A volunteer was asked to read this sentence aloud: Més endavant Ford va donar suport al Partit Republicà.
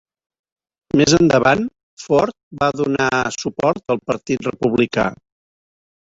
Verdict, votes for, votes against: rejected, 0, 2